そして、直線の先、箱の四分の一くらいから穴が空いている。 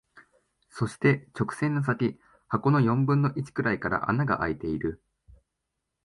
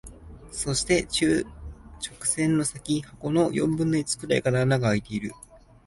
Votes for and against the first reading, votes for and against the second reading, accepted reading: 2, 1, 1, 2, first